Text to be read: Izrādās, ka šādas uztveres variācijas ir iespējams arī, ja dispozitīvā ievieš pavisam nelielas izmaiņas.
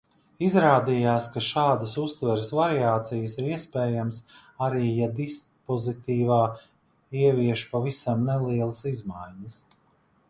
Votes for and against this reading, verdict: 0, 2, rejected